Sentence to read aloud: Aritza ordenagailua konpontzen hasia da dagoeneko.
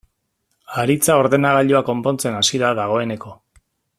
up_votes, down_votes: 0, 2